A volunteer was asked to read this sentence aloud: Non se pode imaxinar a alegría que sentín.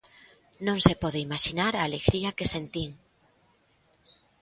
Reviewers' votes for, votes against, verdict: 3, 0, accepted